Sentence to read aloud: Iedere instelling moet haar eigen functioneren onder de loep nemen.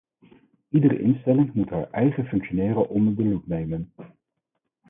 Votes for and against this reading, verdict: 0, 4, rejected